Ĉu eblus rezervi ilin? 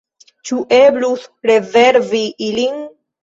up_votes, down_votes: 1, 2